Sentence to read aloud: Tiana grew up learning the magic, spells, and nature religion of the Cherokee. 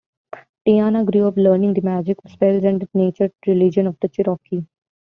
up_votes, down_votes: 0, 2